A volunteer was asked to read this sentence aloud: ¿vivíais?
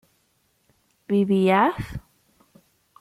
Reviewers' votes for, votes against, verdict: 1, 2, rejected